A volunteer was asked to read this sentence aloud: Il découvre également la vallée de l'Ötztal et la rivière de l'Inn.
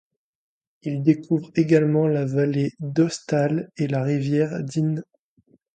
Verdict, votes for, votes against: rejected, 1, 2